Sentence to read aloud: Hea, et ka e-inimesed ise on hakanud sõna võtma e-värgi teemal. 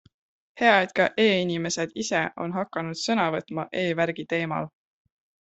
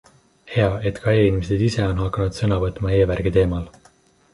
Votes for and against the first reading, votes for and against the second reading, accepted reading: 2, 0, 1, 2, first